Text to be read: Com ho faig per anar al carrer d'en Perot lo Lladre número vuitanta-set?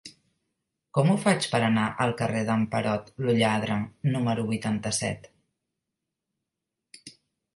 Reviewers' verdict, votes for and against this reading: accepted, 2, 0